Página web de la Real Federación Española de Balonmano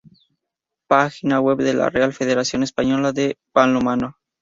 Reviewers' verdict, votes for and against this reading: rejected, 0, 2